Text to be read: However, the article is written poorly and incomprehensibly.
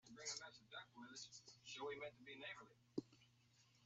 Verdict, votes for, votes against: rejected, 0, 2